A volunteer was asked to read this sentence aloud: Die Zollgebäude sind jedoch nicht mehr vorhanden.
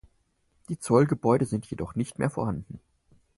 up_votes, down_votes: 4, 0